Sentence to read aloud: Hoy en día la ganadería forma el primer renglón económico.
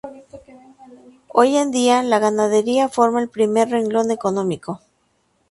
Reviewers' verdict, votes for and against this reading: accepted, 2, 0